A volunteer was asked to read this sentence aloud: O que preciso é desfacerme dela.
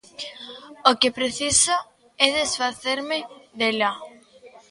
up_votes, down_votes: 1, 2